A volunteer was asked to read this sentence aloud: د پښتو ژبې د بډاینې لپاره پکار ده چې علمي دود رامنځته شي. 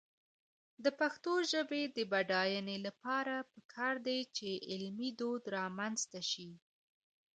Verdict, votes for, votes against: accepted, 2, 1